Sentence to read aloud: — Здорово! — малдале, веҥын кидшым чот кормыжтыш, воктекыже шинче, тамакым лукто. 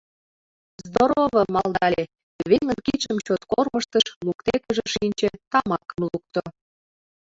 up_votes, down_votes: 1, 2